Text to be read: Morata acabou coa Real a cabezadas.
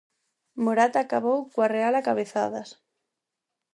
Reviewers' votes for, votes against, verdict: 4, 0, accepted